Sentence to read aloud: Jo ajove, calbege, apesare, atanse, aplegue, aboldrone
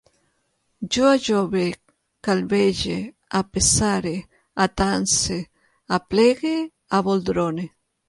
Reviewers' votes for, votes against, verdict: 2, 0, accepted